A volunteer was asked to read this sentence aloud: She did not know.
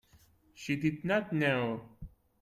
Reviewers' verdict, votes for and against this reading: accepted, 2, 0